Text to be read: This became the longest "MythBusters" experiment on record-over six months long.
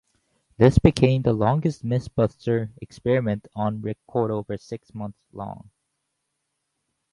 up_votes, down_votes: 2, 2